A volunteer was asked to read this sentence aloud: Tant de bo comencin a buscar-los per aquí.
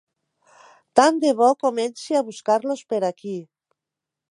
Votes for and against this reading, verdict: 2, 3, rejected